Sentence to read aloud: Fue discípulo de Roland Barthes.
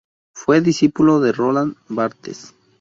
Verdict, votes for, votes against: accepted, 2, 0